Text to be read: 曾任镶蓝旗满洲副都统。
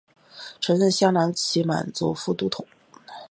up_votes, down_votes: 2, 0